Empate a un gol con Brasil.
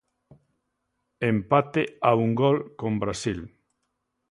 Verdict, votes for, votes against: accepted, 2, 0